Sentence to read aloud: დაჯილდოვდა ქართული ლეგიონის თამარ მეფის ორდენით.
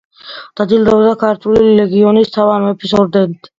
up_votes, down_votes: 2, 1